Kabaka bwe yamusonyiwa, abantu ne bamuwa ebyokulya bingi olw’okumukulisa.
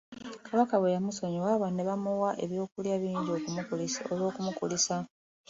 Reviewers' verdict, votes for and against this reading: rejected, 0, 2